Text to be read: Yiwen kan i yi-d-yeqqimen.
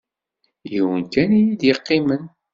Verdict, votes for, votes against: accepted, 2, 0